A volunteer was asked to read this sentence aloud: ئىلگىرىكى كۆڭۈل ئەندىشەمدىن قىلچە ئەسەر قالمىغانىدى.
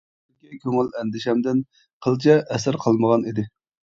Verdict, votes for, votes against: rejected, 1, 2